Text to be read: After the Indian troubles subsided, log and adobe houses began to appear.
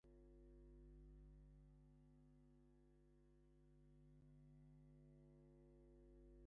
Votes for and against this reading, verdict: 0, 2, rejected